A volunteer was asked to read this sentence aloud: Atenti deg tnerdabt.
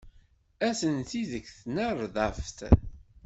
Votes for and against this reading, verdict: 1, 2, rejected